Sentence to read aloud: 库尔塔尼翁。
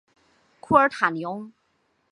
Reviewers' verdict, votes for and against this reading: rejected, 1, 2